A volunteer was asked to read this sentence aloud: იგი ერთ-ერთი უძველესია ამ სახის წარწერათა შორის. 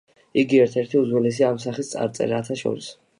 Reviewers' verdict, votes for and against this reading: accepted, 2, 0